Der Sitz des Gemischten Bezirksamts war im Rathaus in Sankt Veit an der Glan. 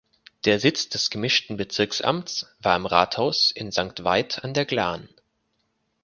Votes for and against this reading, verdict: 4, 0, accepted